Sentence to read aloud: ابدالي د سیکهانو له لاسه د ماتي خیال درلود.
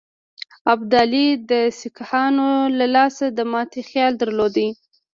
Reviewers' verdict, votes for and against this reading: rejected, 1, 2